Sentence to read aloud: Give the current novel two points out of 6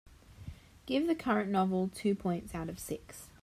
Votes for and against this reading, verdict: 0, 2, rejected